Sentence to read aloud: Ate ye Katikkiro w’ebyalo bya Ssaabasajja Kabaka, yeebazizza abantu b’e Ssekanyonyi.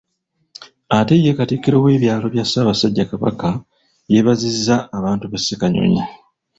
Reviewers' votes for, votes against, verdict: 2, 0, accepted